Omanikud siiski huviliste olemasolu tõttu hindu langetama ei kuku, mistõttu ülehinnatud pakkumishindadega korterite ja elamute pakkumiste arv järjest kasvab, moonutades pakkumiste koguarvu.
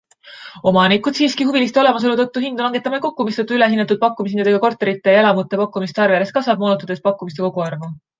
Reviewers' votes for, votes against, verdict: 2, 0, accepted